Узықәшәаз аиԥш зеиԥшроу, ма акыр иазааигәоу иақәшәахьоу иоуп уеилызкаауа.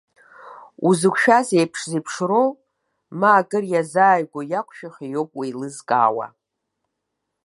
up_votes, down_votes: 0, 2